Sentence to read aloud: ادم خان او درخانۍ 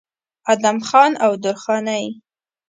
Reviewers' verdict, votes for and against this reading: accepted, 2, 0